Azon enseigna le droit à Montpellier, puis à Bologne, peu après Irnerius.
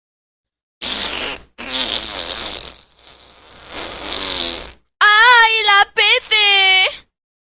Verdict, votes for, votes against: rejected, 0, 2